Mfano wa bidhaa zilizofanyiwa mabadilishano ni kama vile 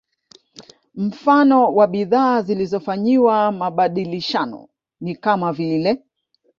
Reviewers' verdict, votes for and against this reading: rejected, 1, 2